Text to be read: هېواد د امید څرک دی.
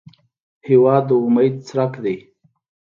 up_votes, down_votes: 2, 0